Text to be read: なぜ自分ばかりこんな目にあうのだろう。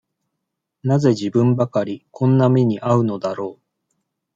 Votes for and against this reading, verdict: 2, 0, accepted